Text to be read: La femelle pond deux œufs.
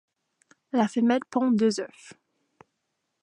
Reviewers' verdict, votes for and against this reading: rejected, 0, 2